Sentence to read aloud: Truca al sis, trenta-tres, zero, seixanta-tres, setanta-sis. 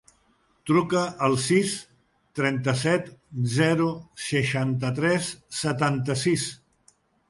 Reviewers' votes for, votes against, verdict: 0, 2, rejected